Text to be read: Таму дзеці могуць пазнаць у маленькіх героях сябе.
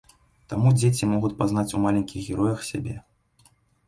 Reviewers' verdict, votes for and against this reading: rejected, 0, 2